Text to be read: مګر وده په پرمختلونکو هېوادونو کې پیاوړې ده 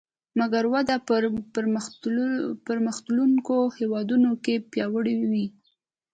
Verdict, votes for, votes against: rejected, 1, 2